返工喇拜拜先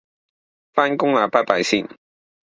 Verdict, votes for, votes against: accepted, 2, 0